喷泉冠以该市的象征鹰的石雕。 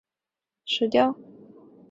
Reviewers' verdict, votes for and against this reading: rejected, 0, 3